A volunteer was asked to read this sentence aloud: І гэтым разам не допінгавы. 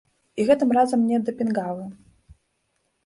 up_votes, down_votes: 0, 2